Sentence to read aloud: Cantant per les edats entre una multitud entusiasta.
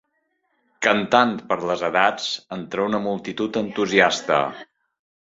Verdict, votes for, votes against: accepted, 3, 1